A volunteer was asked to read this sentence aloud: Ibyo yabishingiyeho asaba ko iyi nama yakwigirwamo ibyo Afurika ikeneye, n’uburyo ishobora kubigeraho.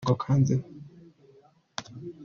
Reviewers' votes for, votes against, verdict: 0, 2, rejected